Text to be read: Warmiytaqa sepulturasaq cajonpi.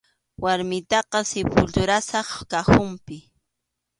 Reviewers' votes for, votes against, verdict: 2, 0, accepted